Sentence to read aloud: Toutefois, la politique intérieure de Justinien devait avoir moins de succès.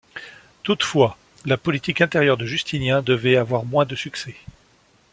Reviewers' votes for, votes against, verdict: 2, 0, accepted